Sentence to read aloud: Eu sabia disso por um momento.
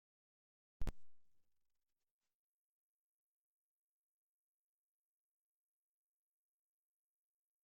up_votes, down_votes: 0, 2